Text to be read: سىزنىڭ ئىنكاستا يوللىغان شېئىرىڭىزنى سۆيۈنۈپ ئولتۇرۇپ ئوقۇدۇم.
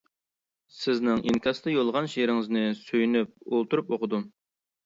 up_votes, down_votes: 2, 0